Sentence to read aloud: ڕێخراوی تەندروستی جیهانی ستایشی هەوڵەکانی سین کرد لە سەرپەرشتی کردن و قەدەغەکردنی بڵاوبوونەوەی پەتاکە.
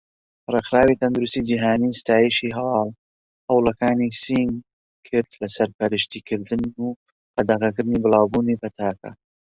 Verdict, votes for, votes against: rejected, 0, 2